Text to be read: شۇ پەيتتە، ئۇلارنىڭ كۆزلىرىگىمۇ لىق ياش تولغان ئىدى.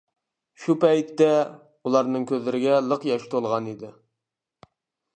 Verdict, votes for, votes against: rejected, 0, 2